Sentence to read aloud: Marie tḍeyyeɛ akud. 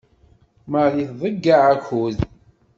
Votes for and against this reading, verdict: 2, 0, accepted